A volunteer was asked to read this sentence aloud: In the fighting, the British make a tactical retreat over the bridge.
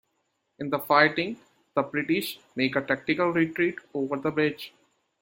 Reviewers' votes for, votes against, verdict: 2, 0, accepted